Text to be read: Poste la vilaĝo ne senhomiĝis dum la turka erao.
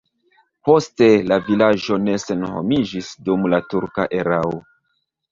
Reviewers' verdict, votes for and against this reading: rejected, 0, 2